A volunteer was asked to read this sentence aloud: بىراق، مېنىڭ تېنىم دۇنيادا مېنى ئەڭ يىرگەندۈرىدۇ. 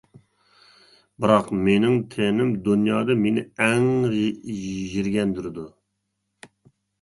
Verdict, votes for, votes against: accepted, 2, 0